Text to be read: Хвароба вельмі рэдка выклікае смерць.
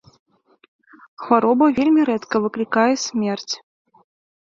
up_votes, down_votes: 2, 0